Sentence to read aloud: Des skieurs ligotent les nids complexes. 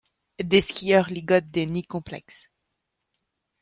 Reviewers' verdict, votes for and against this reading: rejected, 0, 2